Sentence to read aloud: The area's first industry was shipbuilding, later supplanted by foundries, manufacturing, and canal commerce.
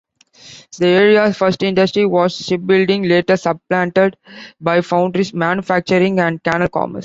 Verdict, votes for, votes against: rejected, 0, 2